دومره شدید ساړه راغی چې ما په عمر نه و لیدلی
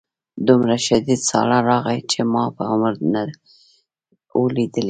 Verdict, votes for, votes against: accepted, 2, 1